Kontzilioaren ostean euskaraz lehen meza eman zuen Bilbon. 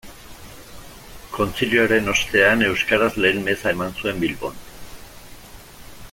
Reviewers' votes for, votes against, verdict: 2, 0, accepted